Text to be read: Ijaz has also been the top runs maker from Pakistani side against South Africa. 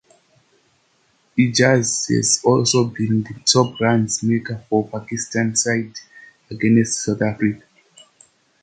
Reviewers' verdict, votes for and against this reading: rejected, 1, 2